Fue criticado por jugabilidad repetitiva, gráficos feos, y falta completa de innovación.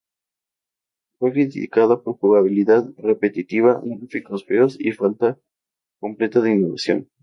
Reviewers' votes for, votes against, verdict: 2, 0, accepted